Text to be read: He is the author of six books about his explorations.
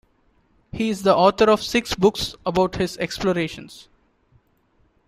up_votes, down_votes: 3, 1